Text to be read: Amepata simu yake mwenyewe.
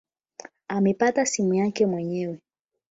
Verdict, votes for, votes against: rejected, 0, 8